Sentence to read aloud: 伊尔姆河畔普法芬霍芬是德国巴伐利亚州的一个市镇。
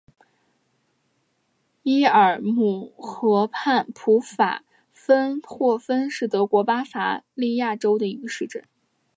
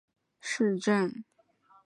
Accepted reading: first